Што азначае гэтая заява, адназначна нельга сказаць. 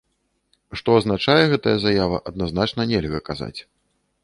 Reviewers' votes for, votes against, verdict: 0, 2, rejected